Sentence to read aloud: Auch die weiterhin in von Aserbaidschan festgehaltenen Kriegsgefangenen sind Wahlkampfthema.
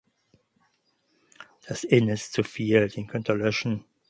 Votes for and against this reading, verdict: 0, 4, rejected